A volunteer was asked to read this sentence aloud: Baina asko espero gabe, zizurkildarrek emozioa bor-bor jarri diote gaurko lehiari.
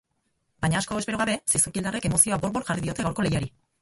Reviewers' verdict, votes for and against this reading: rejected, 2, 2